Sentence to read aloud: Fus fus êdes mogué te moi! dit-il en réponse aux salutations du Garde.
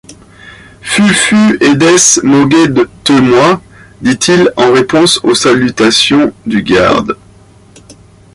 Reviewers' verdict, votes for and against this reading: rejected, 1, 2